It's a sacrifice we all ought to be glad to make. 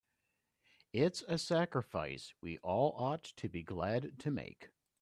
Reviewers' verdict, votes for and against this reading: accepted, 2, 0